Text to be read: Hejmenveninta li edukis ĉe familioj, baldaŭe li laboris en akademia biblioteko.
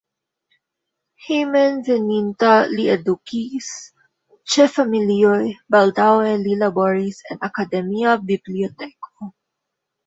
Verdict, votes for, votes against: accepted, 2, 0